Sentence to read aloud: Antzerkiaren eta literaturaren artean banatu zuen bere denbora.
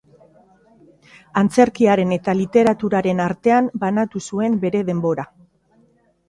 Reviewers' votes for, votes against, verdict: 2, 0, accepted